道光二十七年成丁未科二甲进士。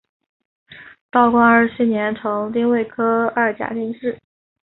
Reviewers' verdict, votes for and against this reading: accepted, 3, 0